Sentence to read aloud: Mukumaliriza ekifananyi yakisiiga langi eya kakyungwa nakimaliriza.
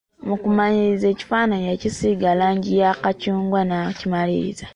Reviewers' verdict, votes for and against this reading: accepted, 2, 0